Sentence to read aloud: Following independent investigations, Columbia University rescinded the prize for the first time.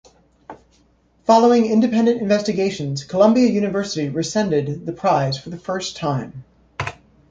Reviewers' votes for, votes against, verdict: 2, 0, accepted